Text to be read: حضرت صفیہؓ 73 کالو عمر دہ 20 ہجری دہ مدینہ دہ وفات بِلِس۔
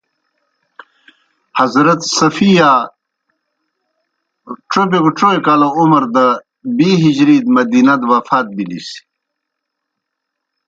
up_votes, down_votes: 0, 2